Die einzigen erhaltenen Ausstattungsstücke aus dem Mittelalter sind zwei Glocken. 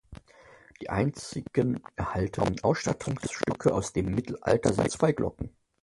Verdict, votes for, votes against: rejected, 0, 2